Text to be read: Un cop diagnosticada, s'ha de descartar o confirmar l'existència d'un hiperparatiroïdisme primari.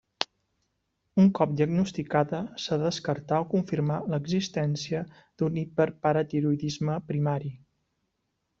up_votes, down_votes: 2, 0